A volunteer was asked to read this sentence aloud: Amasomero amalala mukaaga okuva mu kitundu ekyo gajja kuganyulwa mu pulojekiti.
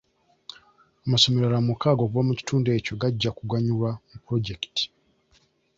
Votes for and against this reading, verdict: 2, 0, accepted